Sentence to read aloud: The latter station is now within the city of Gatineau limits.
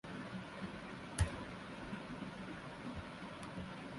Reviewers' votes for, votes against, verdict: 0, 2, rejected